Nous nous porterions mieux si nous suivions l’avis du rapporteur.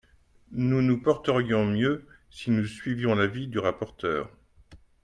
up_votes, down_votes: 2, 0